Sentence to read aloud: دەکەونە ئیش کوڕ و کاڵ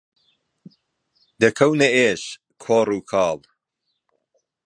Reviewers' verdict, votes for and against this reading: rejected, 1, 2